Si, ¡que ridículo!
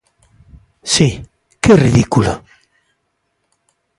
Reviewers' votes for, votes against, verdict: 2, 0, accepted